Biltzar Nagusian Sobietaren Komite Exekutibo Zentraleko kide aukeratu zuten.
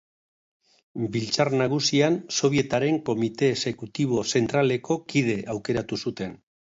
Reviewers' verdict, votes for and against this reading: accepted, 2, 0